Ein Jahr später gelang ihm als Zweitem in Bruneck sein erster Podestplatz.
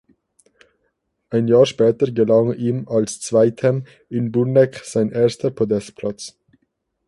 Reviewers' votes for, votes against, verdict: 4, 2, accepted